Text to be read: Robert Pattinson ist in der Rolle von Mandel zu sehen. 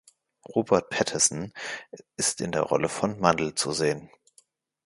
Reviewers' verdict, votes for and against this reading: rejected, 0, 2